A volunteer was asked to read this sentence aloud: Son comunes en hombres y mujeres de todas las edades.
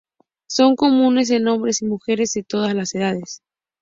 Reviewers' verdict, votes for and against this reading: accepted, 2, 0